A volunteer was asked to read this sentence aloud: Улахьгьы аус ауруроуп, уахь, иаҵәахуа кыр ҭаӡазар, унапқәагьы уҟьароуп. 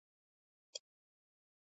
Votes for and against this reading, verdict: 0, 2, rejected